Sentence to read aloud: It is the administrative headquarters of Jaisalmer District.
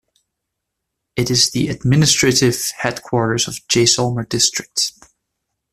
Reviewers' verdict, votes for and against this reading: accepted, 2, 0